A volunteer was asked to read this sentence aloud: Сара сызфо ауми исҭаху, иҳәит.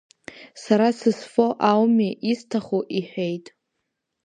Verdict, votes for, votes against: rejected, 0, 2